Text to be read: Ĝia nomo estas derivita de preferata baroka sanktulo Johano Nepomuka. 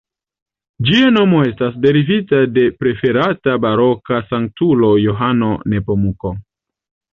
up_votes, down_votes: 2, 1